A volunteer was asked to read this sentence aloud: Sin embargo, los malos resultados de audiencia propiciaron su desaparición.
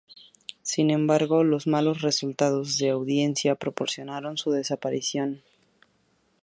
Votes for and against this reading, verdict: 0, 2, rejected